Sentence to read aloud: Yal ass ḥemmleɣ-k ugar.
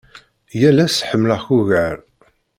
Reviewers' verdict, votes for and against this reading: accepted, 2, 0